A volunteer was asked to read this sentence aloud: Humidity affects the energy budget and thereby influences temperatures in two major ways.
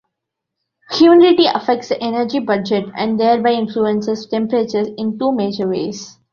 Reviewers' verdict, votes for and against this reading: rejected, 1, 2